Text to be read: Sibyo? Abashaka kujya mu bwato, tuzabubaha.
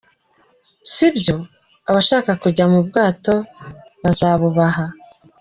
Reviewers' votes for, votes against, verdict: 1, 2, rejected